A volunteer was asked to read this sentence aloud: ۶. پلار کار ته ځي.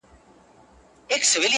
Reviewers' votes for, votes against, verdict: 0, 2, rejected